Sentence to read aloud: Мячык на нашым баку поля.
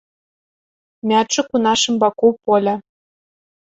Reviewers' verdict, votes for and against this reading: rejected, 0, 2